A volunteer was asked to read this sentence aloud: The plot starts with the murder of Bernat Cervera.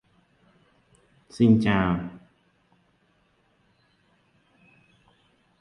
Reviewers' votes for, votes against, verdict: 0, 2, rejected